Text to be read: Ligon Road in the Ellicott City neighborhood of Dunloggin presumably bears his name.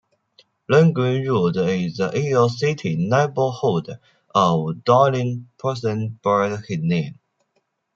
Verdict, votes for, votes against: rejected, 0, 2